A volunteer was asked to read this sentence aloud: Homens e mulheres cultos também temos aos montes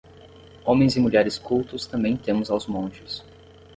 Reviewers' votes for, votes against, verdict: 0, 5, rejected